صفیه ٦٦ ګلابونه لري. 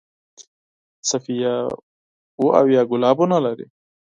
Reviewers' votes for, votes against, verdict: 0, 2, rejected